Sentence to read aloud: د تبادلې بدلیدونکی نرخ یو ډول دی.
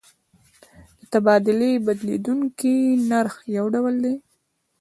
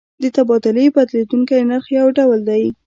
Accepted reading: second